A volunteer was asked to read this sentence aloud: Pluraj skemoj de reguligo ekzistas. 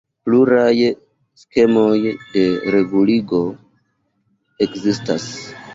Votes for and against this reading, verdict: 2, 0, accepted